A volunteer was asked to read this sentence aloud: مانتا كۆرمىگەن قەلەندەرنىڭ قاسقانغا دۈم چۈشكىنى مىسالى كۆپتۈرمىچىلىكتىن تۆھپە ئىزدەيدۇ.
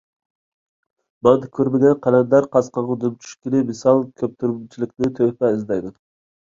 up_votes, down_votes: 0, 2